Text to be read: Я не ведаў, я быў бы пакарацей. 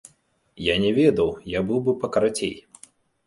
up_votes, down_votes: 2, 0